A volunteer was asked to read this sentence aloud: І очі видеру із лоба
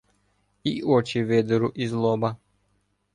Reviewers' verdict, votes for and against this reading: accepted, 2, 0